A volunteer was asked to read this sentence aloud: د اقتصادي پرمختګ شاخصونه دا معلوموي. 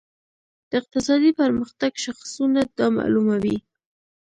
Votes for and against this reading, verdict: 1, 2, rejected